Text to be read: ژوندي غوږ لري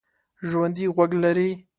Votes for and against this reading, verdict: 2, 0, accepted